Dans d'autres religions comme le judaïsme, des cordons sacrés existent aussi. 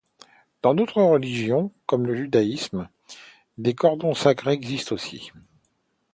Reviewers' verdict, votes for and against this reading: accepted, 2, 0